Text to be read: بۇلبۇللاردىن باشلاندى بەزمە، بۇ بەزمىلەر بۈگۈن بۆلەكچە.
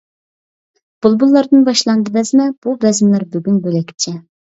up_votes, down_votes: 2, 0